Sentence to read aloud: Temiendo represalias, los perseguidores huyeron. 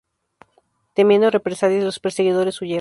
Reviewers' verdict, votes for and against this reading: rejected, 0, 2